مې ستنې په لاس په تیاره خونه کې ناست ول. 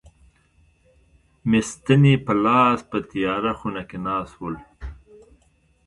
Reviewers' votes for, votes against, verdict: 0, 2, rejected